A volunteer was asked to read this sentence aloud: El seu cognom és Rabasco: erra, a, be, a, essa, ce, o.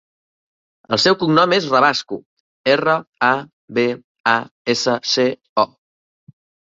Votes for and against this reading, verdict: 3, 0, accepted